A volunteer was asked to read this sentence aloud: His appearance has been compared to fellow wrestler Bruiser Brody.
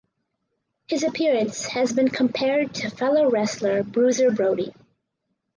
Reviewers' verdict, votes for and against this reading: accepted, 4, 0